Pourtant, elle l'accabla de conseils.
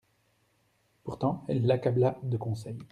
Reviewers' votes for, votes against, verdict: 2, 0, accepted